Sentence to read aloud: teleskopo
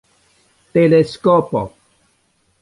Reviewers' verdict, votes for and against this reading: accepted, 2, 1